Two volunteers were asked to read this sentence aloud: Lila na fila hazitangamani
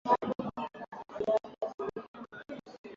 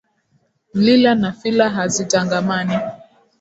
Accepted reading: second